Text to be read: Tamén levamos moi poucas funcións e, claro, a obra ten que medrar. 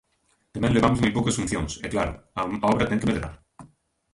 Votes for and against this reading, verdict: 0, 2, rejected